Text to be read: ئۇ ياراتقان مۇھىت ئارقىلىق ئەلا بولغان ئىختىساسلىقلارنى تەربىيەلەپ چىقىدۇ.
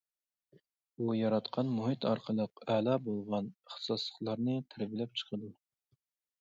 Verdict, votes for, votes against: rejected, 0, 2